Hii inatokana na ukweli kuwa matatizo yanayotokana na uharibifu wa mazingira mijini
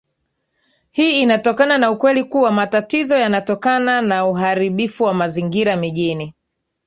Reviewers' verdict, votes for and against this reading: accepted, 2, 1